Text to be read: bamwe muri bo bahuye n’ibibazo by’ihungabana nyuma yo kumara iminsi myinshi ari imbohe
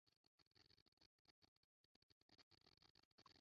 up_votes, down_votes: 0, 2